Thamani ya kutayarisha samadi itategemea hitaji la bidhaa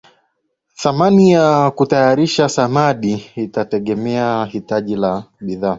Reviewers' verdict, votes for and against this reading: accepted, 2, 0